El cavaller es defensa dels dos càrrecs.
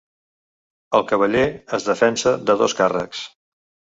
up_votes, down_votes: 0, 2